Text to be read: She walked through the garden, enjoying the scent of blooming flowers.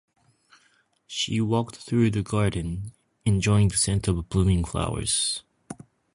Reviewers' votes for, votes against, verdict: 2, 0, accepted